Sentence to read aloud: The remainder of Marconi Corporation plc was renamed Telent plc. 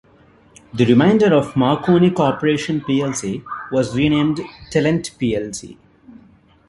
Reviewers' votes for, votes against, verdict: 2, 0, accepted